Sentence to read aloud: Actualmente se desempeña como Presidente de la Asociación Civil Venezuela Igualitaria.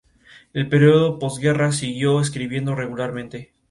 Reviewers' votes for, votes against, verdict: 0, 2, rejected